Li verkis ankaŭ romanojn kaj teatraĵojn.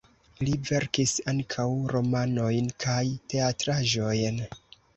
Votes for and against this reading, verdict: 2, 0, accepted